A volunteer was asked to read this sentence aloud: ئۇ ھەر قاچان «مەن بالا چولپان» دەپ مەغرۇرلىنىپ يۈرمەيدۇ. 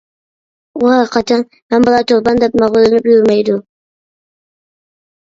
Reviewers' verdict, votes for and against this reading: rejected, 0, 2